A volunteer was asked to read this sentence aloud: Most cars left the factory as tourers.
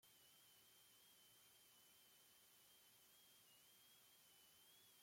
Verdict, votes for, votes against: rejected, 0, 2